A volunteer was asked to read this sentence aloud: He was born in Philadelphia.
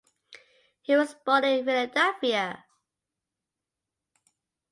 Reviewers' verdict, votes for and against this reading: accepted, 2, 0